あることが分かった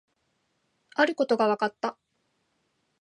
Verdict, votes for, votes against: accepted, 2, 0